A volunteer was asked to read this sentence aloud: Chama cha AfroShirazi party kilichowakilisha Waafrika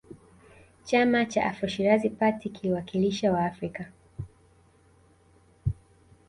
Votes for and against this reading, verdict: 0, 2, rejected